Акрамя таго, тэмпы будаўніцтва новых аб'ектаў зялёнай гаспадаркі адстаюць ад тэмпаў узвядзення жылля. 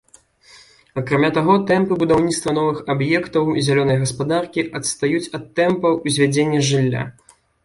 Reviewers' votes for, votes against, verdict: 2, 0, accepted